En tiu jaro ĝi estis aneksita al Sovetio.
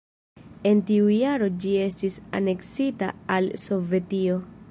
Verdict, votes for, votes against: rejected, 0, 2